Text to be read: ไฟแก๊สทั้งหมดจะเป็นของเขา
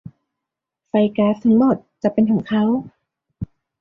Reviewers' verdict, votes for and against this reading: rejected, 1, 2